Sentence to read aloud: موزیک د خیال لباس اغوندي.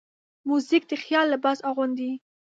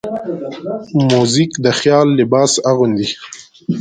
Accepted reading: first